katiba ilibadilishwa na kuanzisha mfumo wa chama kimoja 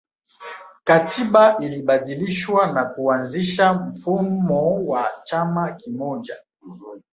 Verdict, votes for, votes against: accepted, 2, 1